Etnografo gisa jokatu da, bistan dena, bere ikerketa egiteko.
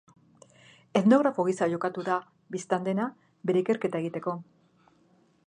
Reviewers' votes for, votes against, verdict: 2, 0, accepted